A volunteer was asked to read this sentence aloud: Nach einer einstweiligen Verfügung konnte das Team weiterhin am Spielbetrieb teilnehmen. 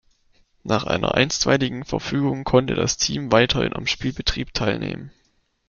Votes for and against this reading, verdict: 3, 0, accepted